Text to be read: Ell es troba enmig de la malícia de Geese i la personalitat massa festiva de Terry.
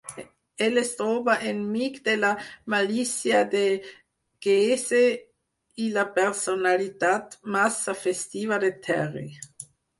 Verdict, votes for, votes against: rejected, 2, 4